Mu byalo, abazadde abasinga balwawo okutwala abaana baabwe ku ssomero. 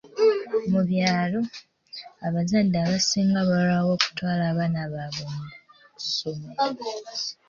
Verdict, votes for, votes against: rejected, 1, 2